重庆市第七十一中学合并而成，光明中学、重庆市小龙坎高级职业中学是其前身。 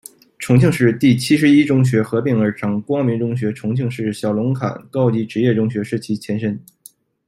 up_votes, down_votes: 2, 0